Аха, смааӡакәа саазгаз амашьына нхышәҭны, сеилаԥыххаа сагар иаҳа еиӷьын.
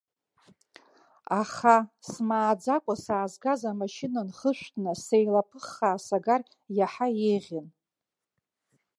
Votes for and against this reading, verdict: 1, 2, rejected